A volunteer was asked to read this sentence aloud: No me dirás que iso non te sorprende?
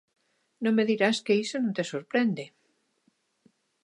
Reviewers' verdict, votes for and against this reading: accepted, 2, 0